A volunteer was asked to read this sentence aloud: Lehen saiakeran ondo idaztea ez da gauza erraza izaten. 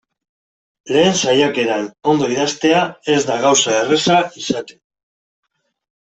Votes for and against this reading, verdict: 2, 0, accepted